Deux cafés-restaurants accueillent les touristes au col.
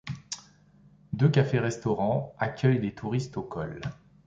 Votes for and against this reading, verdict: 2, 0, accepted